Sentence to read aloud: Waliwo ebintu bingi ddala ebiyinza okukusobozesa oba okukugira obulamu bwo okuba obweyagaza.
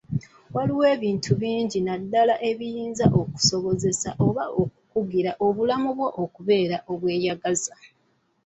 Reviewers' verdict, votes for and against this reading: accepted, 2, 0